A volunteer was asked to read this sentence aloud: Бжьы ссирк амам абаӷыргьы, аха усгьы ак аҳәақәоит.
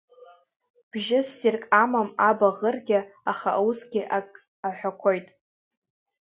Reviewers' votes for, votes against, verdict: 0, 2, rejected